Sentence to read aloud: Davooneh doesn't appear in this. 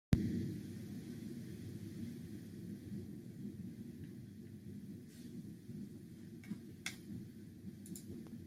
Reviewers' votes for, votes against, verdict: 0, 3, rejected